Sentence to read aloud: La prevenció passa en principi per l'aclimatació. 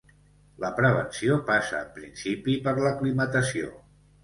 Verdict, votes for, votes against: accepted, 2, 0